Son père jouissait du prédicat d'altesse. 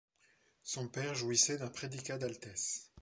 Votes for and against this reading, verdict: 1, 2, rejected